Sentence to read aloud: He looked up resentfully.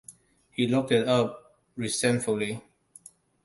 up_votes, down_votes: 0, 2